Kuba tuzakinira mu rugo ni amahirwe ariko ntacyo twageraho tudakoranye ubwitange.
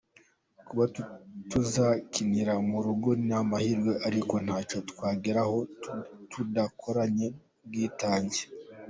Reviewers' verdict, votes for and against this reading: accepted, 2, 1